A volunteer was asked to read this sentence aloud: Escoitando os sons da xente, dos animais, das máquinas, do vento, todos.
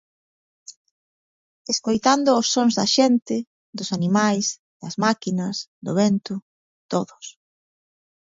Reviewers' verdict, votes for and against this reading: accepted, 2, 0